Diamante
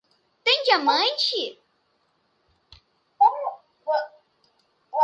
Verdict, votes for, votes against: rejected, 0, 2